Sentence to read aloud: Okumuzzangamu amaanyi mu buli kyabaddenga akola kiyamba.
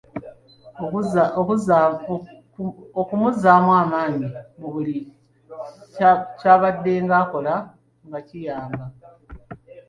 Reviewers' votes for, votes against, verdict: 0, 2, rejected